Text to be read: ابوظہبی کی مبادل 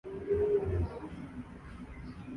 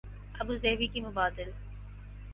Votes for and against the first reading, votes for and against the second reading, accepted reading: 1, 5, 4, 0, second